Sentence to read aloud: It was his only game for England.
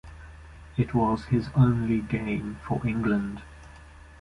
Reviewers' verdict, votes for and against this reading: accepted, 2, 0